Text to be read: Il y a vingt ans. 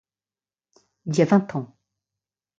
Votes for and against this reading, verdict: 1, 2, rejected